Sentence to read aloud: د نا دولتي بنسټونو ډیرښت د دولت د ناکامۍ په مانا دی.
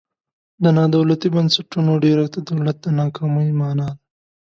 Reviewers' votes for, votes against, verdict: 0, 2, rejected